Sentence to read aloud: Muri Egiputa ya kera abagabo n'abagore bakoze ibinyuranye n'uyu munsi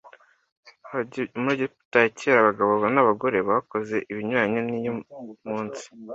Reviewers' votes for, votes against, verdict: 1, 2, rejected